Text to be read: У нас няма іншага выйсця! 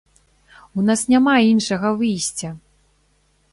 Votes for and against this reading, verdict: 2, 0, accepted